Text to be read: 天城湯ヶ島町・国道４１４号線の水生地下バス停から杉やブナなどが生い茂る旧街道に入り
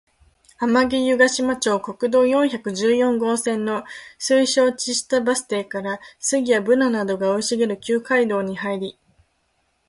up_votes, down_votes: 0, 2